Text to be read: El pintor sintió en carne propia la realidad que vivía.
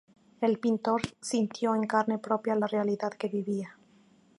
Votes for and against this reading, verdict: 2, 0, accepted